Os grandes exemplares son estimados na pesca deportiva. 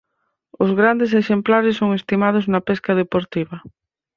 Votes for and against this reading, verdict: 4, 0, accepted